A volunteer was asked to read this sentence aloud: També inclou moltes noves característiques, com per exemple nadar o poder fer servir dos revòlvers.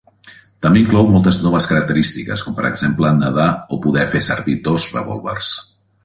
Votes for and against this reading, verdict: 2, 0, accepted